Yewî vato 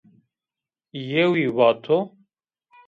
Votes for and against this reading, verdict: 1, 2, rejected